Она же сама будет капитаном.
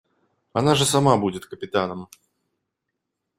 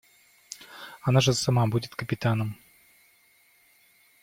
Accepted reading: first